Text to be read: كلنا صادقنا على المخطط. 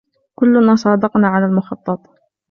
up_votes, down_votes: 2, 0